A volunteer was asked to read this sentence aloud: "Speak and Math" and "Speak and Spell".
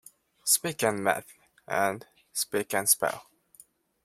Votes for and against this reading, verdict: 2, 0, accepted